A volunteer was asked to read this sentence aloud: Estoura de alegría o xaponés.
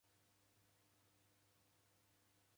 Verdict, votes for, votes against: rejected, 0, 2